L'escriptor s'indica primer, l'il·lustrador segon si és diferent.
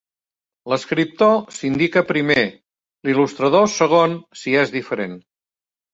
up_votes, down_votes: 3, 0